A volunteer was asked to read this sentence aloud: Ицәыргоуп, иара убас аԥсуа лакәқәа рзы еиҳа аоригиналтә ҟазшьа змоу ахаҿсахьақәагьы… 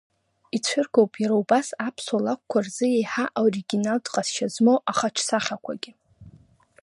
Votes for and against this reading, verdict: 0, 2, rejected